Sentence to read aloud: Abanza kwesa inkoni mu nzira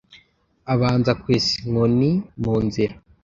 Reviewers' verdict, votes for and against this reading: accepted, 2, 0